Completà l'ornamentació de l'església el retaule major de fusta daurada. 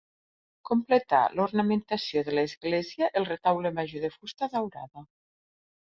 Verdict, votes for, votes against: accepted, 2, 0